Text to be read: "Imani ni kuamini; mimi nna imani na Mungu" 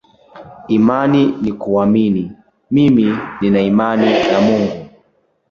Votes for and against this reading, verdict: 0, 2, rejected